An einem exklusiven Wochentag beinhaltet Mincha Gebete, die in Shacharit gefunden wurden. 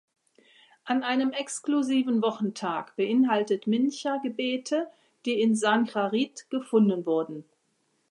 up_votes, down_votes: 0, 2